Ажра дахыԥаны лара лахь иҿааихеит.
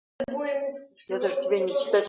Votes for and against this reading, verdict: 0, 2, rejected